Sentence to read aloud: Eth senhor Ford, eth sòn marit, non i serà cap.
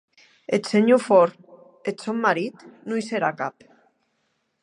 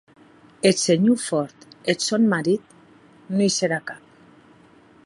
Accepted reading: first